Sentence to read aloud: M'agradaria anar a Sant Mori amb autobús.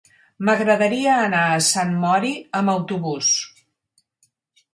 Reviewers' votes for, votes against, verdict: 6, 0, accepted